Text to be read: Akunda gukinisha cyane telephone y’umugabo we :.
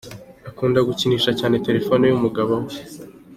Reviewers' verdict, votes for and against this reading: accepted, 2, 1